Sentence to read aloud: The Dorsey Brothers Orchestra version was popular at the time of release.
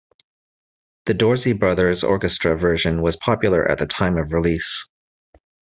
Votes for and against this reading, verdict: 2, 0, accepted